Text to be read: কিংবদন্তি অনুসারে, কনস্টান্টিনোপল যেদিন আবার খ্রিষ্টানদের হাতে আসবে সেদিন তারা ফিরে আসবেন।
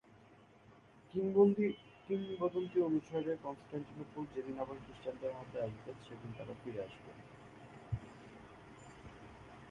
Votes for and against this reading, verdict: 1, 2, rejected